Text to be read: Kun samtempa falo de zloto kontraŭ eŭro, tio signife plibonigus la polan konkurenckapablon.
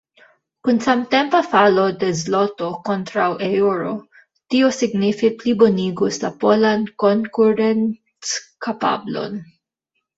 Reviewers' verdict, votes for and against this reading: rejected, 0, 2